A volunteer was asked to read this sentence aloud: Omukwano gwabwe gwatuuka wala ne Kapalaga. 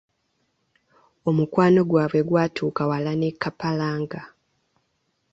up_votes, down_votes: 0, 2